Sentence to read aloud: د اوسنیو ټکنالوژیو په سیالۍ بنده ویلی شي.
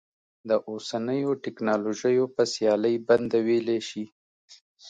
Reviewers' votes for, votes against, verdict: 2, 0, accepted